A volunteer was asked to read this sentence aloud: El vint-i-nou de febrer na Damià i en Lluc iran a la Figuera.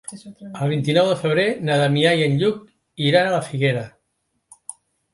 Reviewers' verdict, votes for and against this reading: accepted, 4, 0